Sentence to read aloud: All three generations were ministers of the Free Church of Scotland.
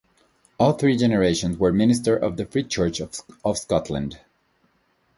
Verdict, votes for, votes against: rejected, 1, 2